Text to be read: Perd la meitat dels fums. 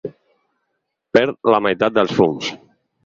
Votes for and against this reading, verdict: 4, 0, accepted